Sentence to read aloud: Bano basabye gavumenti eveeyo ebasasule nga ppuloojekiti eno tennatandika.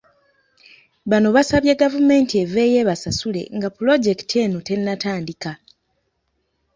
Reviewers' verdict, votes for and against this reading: rejected, 1, 2